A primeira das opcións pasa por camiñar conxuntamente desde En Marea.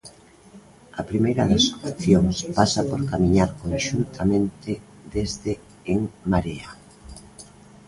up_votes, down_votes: 1, 2